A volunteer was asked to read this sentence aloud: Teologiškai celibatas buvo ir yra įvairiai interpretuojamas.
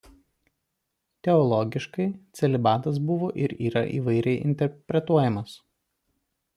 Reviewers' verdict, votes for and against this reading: rejected, 0, 2